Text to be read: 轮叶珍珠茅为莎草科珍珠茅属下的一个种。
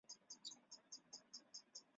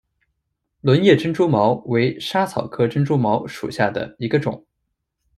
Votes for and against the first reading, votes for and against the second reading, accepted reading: 0, 3, 2, 0, second